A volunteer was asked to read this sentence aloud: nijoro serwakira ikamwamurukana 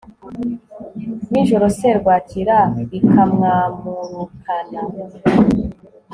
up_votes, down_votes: 2, 0